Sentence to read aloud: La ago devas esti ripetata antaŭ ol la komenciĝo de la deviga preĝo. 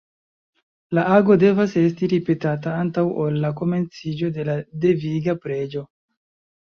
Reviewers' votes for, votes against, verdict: 2, 0, accepted